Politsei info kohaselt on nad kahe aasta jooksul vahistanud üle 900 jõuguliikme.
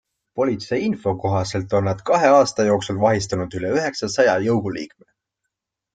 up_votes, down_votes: 0, 2